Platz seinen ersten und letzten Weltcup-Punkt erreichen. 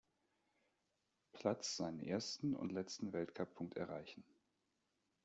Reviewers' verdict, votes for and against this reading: accepted, 2, 0